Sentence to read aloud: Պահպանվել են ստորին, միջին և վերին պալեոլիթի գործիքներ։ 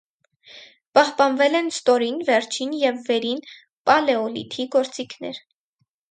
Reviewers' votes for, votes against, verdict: 2, 4, rejected